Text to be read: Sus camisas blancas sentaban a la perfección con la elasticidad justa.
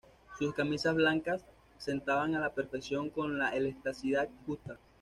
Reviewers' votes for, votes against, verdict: 1, 2, rejected